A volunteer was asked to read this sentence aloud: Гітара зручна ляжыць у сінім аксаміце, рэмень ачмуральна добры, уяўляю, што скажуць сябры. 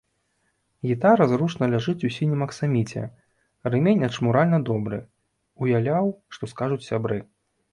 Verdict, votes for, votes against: rejected, 0, 2